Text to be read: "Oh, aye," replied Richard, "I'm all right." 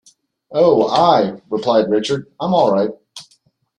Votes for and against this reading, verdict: 2, 0, accepted